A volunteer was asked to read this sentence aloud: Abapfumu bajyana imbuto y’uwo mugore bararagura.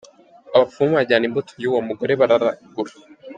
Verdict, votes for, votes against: accepted, 2, 0